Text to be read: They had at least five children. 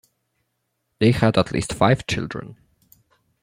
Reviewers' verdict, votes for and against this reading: accepted, 2, 1